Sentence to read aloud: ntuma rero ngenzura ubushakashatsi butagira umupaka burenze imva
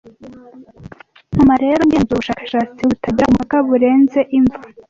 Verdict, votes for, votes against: rejected, 1, 2